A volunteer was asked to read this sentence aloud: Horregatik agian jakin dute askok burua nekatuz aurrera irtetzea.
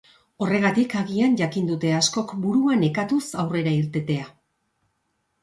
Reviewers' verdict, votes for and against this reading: rejected, 0, 2